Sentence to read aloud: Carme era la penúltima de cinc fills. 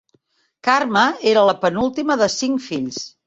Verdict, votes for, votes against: accepted, 3, 0